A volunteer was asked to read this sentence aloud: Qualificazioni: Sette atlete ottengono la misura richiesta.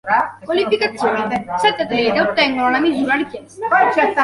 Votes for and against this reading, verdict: 1, 2, rejected